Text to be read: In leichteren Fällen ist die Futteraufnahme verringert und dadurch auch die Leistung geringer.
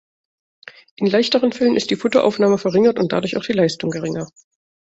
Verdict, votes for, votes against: accepted, 2, 0